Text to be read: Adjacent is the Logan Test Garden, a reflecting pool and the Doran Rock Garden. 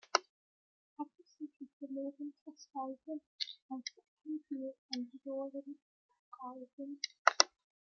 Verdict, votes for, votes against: rejected, 1, 2